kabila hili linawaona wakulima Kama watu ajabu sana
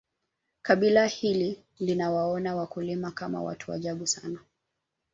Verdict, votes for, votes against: accepted, 3, 1